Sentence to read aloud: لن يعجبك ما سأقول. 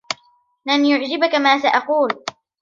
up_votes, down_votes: 1, 2